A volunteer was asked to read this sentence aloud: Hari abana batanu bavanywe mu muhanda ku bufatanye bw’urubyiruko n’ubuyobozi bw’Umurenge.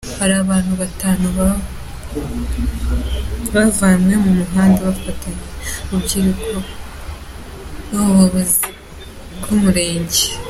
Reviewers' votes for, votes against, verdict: 1, 2, rejected